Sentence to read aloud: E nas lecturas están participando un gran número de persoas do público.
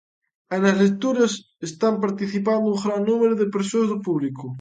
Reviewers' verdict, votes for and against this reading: accepted, 2, 0